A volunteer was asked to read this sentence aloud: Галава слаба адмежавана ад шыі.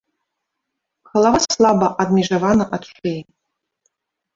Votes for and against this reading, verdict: 1, 2, rejected